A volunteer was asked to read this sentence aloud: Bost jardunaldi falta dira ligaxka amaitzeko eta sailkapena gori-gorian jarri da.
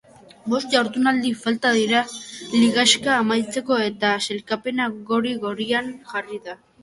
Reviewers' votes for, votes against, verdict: 3, 1, accepted